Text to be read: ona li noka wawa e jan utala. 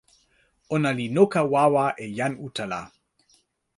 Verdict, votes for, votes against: accepted, 2, 0